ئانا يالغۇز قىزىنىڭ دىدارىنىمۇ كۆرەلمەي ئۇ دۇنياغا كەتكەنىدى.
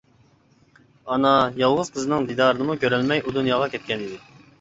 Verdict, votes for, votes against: accepted, 2, 0